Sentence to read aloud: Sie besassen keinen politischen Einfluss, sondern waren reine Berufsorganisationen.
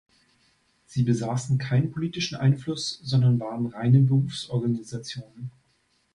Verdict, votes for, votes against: accepted, 2, 0